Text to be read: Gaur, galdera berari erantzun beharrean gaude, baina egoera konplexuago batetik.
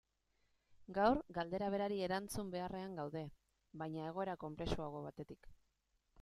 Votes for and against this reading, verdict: 2, 0, accepted